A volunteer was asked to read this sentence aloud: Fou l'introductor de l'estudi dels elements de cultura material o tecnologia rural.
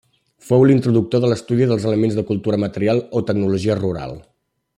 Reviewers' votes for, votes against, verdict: 3, 1, accepted